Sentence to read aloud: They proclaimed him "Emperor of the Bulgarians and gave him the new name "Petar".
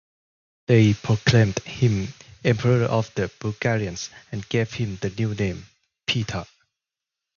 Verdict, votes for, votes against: rejected, 0, 2